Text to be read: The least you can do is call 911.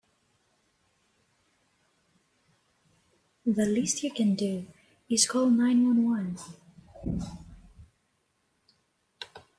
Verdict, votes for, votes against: rejected, 0, 2